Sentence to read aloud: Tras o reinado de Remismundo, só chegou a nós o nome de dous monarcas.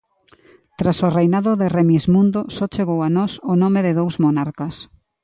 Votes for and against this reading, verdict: 2, 0, accepted